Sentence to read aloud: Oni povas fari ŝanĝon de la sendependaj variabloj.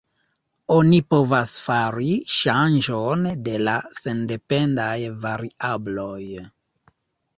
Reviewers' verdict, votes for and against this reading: accepted, 3, 1